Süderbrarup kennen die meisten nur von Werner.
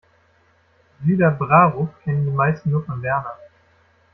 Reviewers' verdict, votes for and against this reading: rejected, 1, 2